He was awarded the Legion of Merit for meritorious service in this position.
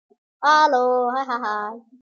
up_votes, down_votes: 0, 2